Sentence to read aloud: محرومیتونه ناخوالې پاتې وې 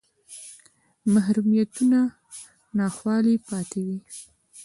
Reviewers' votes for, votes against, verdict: 1, 2, rejected